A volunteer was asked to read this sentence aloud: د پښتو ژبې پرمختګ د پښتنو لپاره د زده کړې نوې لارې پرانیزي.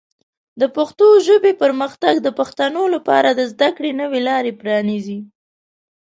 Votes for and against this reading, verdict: 2, 0, accepted